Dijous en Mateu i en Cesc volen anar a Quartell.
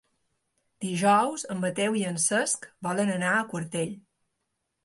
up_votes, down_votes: 3, 0